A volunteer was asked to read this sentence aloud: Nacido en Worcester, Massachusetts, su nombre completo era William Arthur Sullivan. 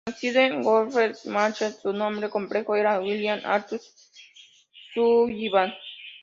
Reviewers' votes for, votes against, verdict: 0, 2, rejected